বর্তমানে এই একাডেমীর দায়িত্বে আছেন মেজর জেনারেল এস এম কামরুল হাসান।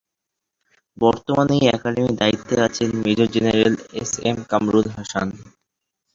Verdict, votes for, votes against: rejected, 0, 2